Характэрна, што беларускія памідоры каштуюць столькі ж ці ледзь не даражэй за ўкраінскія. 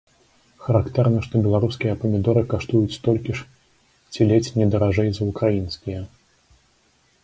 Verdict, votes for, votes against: accepted, 2, 0